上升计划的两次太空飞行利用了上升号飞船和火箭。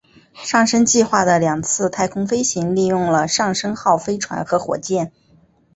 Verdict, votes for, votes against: accepted, 2, 0